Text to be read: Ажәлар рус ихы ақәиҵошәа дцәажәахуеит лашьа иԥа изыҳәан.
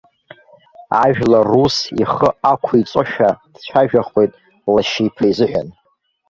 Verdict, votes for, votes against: rejected, 1, 2